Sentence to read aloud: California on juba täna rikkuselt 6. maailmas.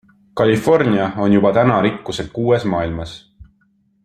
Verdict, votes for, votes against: rejected, 0, 2